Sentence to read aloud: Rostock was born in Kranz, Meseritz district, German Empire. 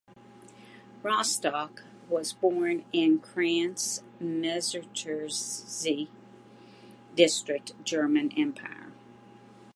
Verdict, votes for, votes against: rejected, 0, 2